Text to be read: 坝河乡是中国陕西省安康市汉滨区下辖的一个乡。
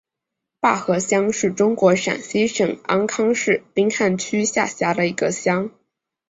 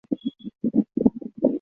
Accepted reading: first